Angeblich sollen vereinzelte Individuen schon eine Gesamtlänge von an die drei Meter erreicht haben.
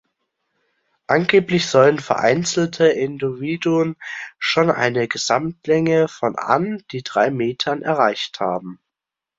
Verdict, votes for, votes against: rejected, 0, 2